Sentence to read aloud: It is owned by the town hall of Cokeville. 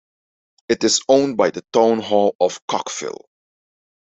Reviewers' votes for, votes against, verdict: 0, 2, rejected